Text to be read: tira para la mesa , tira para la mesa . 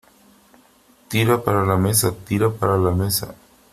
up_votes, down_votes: 2, 1